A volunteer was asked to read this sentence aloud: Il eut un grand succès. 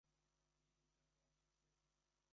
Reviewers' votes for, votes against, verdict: 0, 2, rejected